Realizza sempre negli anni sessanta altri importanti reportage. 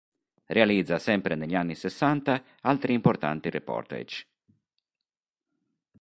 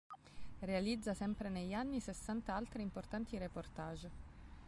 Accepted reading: second